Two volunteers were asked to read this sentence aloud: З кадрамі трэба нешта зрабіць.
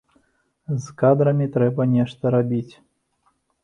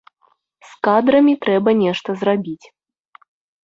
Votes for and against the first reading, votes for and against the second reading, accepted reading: 0, 2, 2, 0, second